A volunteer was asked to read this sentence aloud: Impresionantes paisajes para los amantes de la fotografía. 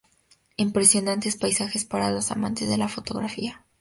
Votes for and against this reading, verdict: 2, 0, accepted